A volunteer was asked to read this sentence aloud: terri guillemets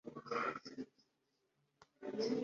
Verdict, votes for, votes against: rejected, 1, 3